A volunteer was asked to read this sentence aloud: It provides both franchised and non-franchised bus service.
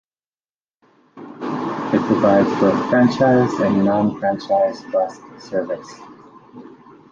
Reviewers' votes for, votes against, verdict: 1, 3, rejected